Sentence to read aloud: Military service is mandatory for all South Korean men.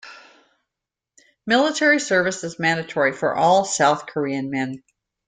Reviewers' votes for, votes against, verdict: 2, 0, accepted